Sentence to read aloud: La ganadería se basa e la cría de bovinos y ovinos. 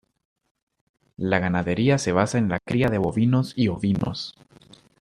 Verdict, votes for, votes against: rejected, 1, 2